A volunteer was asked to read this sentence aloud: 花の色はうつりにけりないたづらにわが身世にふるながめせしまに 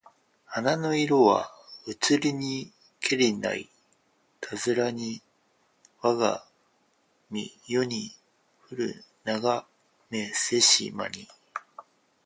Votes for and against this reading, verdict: 0, 4, rejected